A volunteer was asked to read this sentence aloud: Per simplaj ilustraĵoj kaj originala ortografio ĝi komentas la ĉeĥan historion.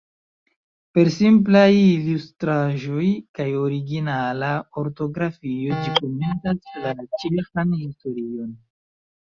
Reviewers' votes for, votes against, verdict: 0, 2, rejected